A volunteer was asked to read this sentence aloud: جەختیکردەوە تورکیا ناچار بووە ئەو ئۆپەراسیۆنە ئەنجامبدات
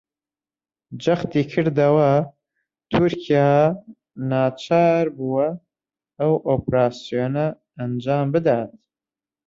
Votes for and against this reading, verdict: 0, 3, rejected